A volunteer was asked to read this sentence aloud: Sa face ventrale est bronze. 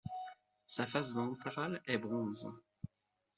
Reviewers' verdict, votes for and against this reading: accepted, 2, 1